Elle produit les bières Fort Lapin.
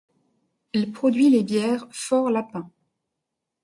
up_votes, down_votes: 2, 0